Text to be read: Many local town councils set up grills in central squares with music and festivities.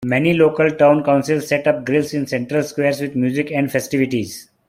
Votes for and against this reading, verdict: 2, 0, accepted